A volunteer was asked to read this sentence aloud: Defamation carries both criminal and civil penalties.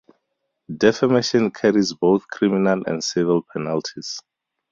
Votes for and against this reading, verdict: 2, 2, rejected